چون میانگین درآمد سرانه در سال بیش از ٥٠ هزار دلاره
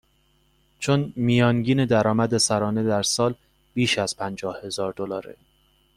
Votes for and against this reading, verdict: 0, 2, rejected